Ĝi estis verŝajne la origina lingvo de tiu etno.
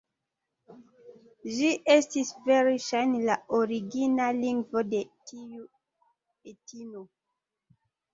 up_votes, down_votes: 0, 2